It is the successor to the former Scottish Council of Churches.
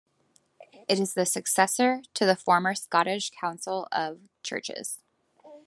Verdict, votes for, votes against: accepted, 2, 0